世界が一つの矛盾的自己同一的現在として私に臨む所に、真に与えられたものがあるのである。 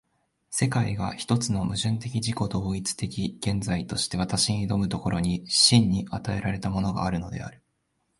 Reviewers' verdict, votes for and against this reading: accepted, 2, 0